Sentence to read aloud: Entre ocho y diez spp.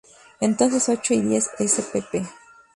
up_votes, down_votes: 0, 2